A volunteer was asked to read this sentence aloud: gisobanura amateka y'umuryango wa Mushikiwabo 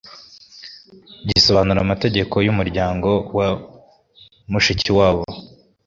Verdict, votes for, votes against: accepted, 2, 0